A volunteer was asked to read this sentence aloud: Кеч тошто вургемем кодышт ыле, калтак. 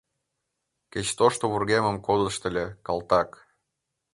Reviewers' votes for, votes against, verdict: 2, 1, accepted